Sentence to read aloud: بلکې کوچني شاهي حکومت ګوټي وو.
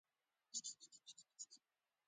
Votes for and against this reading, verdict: 0, 2, rejected